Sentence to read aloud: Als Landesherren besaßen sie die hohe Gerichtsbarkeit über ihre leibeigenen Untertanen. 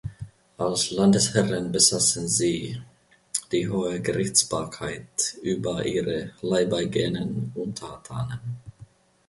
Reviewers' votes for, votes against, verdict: 2, 0, accepted